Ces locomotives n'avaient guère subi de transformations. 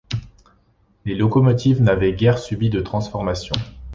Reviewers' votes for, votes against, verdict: 0, 2, rejected